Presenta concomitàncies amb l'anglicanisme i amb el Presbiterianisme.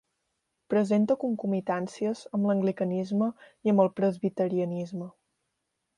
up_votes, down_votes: 2, 0